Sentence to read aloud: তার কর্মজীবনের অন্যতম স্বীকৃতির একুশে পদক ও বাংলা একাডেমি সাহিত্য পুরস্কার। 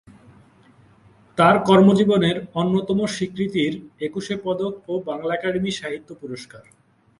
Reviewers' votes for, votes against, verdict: 2, 0, accepted